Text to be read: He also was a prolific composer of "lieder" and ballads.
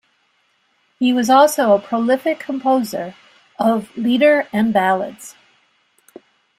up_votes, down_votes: 2, 0